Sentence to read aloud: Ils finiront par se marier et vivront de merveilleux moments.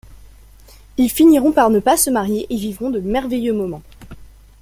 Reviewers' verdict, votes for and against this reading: rejected, 0, 2